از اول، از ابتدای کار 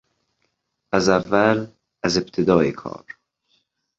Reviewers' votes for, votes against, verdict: 2, 0, accepted